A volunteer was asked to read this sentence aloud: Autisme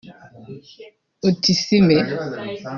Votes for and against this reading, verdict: 1, 2, rejected